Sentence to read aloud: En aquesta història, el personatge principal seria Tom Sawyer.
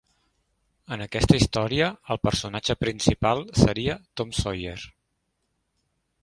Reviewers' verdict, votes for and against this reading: accepted, 3, 0